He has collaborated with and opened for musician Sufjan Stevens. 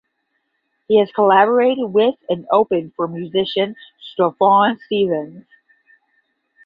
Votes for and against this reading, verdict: 5, 5, rejected